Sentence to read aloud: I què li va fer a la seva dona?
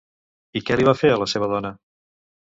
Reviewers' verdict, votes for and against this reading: accepted, 2, 0